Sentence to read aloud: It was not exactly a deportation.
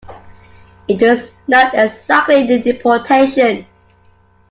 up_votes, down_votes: 1, 2